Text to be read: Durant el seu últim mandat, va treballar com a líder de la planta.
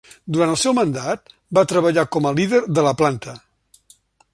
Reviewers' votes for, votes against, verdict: 1, 2, rejected